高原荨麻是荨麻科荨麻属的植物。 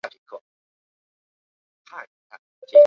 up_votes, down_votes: 0, 3